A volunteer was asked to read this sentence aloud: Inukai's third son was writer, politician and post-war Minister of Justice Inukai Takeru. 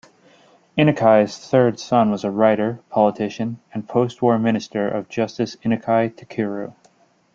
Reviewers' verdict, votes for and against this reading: rejected, 1, 2